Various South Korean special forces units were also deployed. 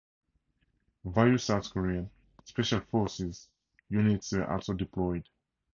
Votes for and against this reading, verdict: 0, 2, rejected